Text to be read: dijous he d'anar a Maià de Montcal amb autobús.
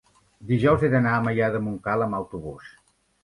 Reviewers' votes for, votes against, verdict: 3, 0, accepted